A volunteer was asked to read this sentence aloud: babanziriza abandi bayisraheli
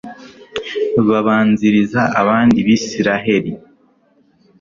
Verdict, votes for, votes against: rejected, 0, 2